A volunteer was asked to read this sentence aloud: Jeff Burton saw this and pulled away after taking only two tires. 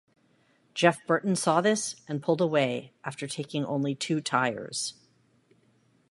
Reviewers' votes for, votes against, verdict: 2, 0, accepted